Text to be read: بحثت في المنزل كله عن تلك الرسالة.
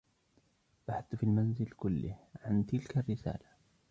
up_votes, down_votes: 0, 2